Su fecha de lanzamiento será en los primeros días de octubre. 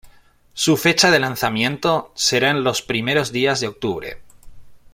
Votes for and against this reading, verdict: 2, 0, accepted